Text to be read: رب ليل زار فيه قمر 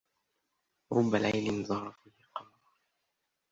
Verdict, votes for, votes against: rejected, 1, 2